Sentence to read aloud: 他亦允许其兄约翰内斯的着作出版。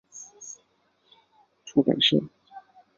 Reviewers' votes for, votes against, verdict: 0, 2, rejected